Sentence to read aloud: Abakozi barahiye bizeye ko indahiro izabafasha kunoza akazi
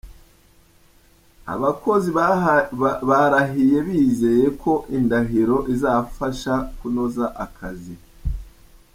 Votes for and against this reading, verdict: 0, 3, rejected